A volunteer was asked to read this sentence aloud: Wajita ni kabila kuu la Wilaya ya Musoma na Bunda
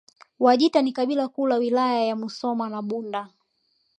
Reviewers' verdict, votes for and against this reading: accepted, 2, 0